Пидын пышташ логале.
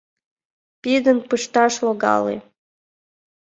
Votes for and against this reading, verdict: 1, 2, rejected